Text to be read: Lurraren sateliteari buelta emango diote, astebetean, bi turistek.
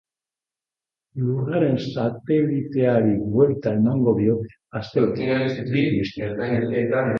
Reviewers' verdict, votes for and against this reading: rejected, 0, 2